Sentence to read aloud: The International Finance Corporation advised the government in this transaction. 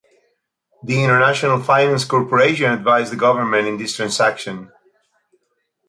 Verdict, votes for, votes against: accepted, 2, 0